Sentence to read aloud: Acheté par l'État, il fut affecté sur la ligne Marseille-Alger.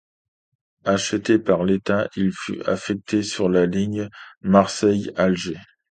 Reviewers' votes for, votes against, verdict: 2, 0, accepted